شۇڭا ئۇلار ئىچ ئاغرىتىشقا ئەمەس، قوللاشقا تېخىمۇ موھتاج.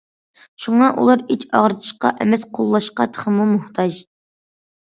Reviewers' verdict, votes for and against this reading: accepted, 2, 0